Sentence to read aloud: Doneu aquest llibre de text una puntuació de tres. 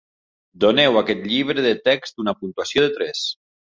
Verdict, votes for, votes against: accepted, 3, 0